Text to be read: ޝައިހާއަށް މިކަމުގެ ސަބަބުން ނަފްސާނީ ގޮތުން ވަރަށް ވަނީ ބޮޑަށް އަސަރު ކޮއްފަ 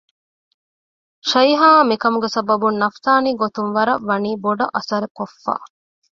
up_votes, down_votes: 2, 0